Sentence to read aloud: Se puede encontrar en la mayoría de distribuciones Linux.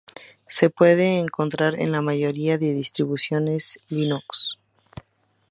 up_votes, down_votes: 2, 0